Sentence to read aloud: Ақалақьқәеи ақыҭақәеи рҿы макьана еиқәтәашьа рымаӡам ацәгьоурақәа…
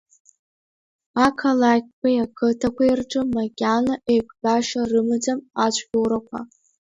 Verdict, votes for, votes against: rejected, 0, 2